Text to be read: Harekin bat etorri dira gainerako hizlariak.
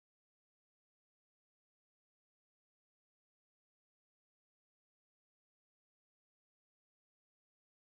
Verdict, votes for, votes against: rejected, 0, 3